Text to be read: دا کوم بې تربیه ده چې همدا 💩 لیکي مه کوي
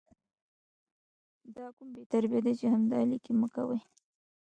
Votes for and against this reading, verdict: 1, 2, rejected